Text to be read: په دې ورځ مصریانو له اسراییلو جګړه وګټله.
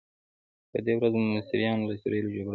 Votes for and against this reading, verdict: 1, 2, rejected